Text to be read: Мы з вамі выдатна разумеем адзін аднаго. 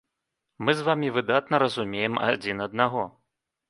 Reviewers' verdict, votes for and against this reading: accepted, 2, 0